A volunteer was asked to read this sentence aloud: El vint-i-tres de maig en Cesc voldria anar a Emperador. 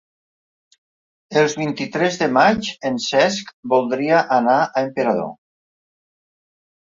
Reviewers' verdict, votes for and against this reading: rejected, 0, 2